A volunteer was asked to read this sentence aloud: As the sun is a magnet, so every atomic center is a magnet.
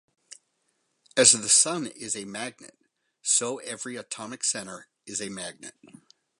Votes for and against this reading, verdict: 2, 0, accepted